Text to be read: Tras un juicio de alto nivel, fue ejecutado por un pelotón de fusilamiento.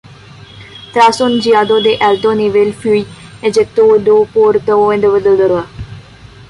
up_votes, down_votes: 0, 2